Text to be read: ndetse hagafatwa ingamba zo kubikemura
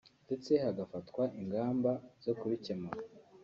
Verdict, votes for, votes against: rejected, 1, 2